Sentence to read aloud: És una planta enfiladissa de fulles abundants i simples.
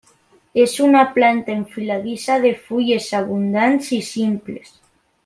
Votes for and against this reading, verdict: 3, 0, accepted